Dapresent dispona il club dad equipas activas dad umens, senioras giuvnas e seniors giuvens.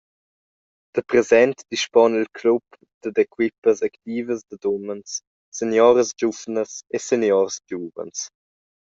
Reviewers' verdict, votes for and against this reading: rejected, 0, 2